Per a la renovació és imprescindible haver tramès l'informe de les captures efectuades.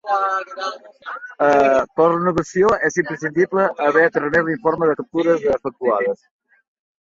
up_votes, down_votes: 0, 2